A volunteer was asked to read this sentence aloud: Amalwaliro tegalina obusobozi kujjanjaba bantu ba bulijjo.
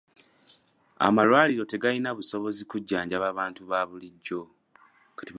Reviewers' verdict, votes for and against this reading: accepted, 2, 0